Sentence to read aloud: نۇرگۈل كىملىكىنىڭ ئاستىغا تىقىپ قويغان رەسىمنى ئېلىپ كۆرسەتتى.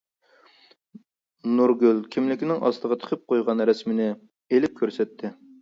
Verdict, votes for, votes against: accepted, 2, 0